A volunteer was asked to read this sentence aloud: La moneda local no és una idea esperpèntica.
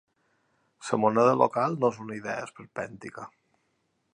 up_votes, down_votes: 1, 2